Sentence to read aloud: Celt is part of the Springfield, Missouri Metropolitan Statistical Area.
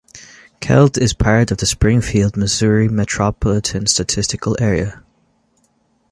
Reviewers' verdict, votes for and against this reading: accepted, 2, 0